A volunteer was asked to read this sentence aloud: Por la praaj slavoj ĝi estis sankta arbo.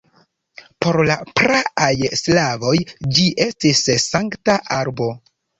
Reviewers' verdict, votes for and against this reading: accepted, 2, 0